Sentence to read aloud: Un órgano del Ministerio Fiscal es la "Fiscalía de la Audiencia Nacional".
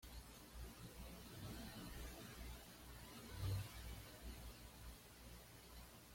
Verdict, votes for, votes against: rejected, 1, 2